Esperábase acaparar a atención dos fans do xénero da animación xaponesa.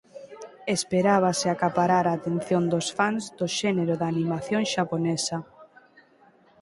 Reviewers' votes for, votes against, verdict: 0, 2, rejected